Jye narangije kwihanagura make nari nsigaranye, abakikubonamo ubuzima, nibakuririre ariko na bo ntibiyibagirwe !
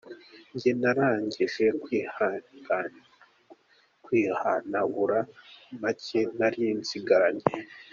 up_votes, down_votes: 0, 2